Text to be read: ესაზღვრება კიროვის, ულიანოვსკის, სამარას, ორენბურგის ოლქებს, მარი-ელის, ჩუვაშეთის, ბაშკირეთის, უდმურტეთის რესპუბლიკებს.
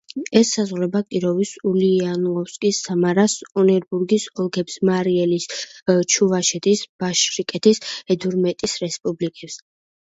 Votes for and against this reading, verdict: 1, 2, rejected